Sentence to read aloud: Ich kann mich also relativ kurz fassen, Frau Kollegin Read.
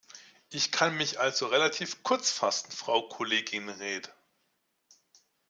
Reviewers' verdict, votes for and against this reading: rejected, 1, 2